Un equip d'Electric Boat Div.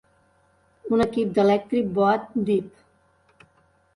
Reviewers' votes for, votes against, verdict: 2, 0, accepted